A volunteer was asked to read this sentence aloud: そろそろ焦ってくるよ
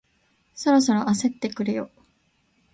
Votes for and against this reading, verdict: 2, 0, accepted